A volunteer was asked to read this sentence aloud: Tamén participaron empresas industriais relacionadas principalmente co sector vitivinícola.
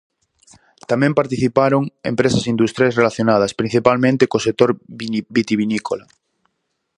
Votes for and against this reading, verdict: 0, 4, rejected